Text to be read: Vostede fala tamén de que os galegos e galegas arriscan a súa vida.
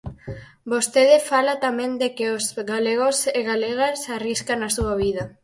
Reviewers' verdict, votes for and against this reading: rejected, 2, 2